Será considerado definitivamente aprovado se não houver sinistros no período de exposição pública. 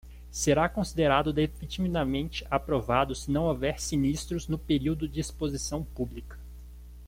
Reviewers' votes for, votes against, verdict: 0, 2, rejected